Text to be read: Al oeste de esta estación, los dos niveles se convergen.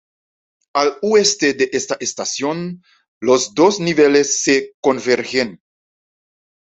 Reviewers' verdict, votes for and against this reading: accepted, 2, 1